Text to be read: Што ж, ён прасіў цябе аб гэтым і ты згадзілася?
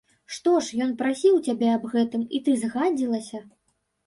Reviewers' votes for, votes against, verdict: 1, 2, rejected